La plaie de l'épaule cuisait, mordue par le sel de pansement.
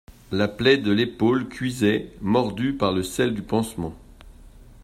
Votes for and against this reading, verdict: 1, 2, rejected